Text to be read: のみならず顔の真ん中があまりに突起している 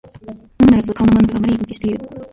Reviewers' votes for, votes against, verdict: 1, 3, rejected